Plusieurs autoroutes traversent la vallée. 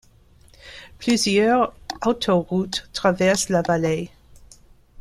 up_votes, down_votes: 2, 0